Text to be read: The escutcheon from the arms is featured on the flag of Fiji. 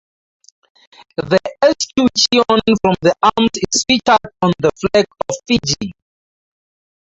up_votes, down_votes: 4, 2